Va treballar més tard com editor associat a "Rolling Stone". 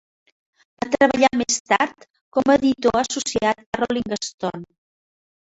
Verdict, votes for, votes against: rejected, 0, 2